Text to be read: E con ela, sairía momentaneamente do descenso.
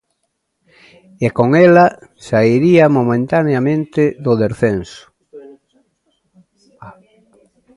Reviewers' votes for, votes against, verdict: 1, 2, rejected